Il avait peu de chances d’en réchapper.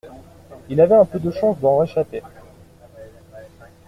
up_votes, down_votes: 1, 2